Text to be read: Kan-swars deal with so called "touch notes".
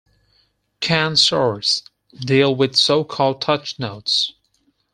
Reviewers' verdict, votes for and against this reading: accepted, 4, 0